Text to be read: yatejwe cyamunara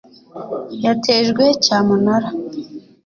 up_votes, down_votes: 3, 0